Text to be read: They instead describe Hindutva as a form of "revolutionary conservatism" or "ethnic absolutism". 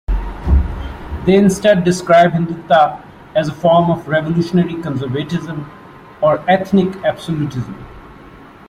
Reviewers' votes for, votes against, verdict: 2, 0, accepted